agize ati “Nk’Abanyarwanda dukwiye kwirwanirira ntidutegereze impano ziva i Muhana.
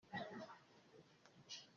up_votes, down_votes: 0, 2